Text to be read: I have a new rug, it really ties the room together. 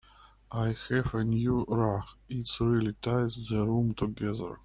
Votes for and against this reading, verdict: 2, 0, accepted